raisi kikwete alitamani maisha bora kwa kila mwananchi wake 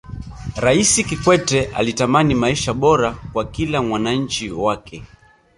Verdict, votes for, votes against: rejected, 1, 2